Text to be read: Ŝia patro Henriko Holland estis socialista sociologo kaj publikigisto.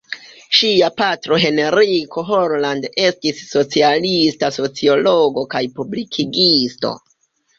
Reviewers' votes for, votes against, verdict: 2, 1, accepted